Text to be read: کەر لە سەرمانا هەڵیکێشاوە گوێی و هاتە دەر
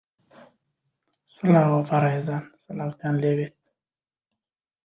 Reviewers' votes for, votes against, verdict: 0, 2, rejected